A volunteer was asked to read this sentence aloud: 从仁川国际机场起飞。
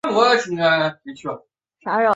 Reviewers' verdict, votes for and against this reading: rejected, 0, 2